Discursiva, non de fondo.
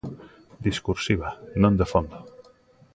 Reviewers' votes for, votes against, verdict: 2, 0, accepted